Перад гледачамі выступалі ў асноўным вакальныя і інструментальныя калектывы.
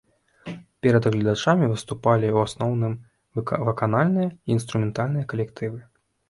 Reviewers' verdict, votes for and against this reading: rejected, 0, 2